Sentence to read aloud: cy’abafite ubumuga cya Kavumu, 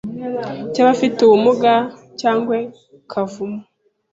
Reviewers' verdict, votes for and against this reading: rejected, 0, 2